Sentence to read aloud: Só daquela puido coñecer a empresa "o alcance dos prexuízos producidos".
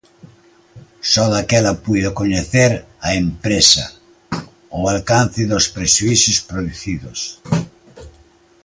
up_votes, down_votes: 2, 1